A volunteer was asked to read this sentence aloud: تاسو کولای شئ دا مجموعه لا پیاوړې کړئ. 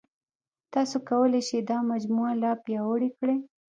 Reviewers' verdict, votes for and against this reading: rejected, 0, 2